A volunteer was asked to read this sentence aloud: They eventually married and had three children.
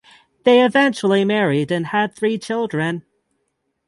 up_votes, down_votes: 3, 6